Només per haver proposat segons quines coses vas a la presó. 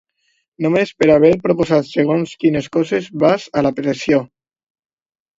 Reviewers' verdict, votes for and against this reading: rejected, 0, 2